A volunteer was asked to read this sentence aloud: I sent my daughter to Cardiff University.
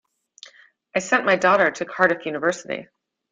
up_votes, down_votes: 2, 0